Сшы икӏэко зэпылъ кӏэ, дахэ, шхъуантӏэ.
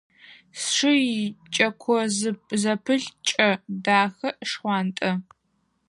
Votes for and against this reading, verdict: 0, 4, rejected